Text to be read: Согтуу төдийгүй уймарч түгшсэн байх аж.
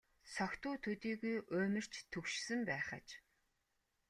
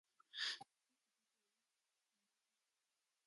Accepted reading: first